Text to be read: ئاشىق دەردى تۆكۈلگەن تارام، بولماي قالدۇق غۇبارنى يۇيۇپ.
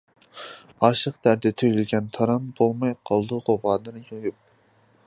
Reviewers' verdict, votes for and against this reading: rejected, 0, 2